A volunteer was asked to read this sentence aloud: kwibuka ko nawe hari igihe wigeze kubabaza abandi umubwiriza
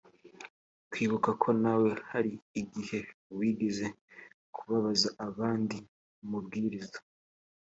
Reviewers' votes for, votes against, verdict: 2, 0, accepted